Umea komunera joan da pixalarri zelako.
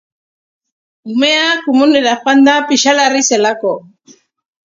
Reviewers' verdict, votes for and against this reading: rejected, 1, 2